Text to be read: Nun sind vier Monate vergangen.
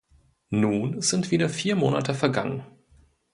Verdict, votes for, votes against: rejected, 0, 2